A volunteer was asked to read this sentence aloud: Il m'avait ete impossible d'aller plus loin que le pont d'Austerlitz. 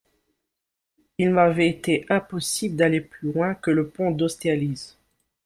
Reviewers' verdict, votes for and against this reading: accepted, 2, 1